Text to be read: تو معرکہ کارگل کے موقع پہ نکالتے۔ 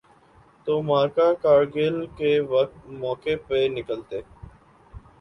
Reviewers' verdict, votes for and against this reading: rejected, 2, 3